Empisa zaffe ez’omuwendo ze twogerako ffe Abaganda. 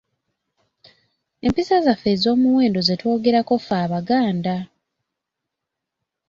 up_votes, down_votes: 2, 0